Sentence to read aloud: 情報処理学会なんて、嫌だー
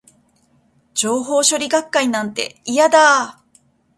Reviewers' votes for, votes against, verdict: 1, 2, rejected